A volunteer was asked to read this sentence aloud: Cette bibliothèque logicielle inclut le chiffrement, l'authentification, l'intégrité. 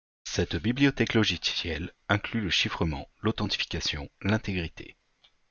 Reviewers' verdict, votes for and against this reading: rejected, 1, 2